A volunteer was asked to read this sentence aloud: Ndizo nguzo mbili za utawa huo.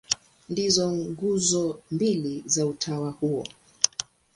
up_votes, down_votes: 22, 2